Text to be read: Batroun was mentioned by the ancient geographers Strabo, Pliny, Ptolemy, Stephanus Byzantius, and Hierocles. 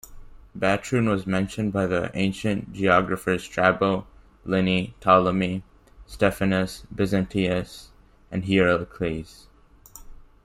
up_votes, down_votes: 0, 2